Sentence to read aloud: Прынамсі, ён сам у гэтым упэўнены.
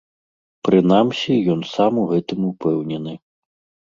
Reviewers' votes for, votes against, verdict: 2, 0, accepted